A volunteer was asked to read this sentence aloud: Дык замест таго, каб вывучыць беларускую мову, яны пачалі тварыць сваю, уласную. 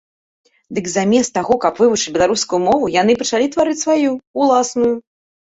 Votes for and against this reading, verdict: 2, 0, accepted